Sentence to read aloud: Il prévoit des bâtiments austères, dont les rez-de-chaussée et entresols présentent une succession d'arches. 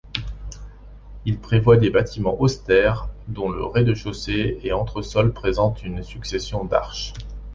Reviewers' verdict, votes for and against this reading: rejected, 0, 2